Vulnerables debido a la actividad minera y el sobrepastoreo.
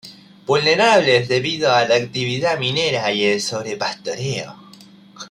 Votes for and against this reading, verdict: 2, 0, accepted